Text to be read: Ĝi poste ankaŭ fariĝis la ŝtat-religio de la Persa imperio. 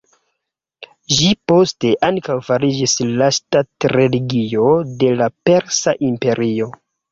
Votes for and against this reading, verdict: 2, 0, accepted